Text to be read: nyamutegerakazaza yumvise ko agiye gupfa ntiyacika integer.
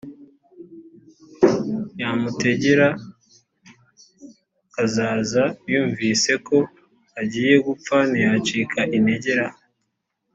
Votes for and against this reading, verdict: 2, 0, accepted